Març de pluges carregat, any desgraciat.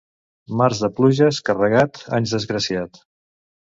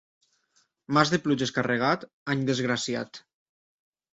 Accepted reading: second